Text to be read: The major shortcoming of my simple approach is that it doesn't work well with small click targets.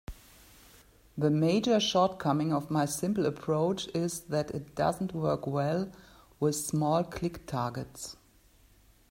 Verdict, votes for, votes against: accepted, 3, 0